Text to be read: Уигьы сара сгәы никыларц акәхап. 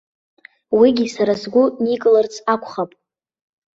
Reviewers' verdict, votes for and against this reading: accepted, 2, 1